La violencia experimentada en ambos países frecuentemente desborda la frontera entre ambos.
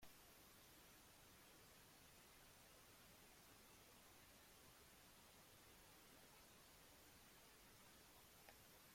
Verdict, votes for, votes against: rejected, 0, 2